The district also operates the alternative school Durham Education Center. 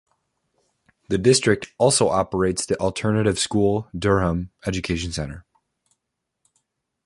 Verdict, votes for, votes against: rejected, 1, 2